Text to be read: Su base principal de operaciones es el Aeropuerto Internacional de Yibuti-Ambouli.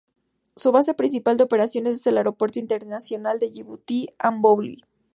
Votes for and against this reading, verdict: 2, 0, accepted